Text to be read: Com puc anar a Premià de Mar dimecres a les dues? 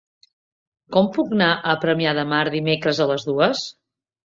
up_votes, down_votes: 0, 2